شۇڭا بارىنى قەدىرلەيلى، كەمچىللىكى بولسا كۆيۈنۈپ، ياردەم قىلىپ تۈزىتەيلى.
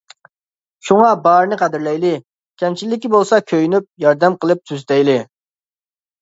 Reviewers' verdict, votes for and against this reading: accepted, 2, 0